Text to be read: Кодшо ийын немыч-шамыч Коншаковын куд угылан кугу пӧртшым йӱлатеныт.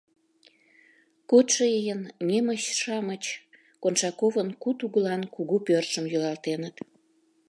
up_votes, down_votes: 1, 2